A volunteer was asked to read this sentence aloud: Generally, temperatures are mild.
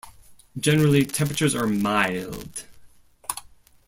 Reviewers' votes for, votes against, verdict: 2, 0, accepted